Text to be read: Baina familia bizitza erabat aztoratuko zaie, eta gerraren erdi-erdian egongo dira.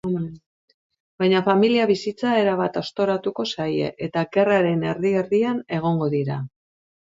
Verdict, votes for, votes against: accepted, 2, 0